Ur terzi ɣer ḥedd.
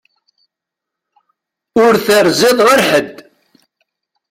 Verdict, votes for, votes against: rejected, 1, 2